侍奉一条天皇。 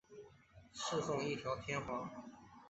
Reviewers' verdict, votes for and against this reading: accepted, 2, 0